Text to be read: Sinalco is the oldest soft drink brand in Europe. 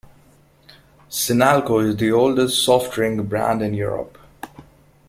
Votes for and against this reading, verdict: 2, 0, accepted